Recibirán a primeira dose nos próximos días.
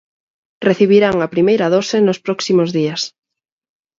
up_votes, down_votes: 4, 0